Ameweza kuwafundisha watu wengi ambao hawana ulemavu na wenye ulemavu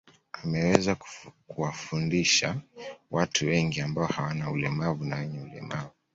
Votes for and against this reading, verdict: 2, 0, accepted